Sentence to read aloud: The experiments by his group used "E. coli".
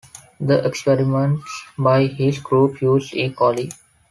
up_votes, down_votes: 2, 0